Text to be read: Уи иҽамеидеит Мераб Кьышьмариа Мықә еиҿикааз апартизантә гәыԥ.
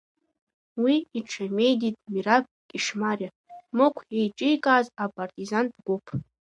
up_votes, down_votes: 0, 2